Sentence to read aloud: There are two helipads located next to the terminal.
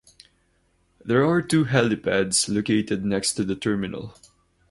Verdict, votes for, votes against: accepted, 2, 0